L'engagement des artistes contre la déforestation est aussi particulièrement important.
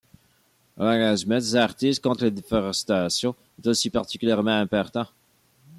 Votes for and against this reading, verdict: 2, 1, accepted